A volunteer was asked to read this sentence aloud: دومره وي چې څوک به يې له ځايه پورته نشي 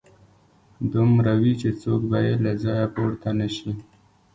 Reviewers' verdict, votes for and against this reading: accepted, 2, 0